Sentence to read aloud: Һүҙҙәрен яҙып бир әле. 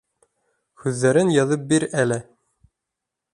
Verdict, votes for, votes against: accepted, 2, 0